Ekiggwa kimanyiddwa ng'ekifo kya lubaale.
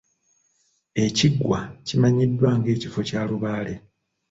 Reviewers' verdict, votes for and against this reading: accepted, 2, 0